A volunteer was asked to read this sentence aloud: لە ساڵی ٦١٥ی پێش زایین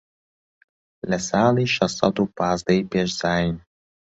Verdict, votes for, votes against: rejected, 0, 2